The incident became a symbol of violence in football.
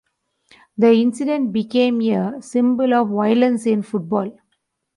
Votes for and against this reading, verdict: 1, 2, rejected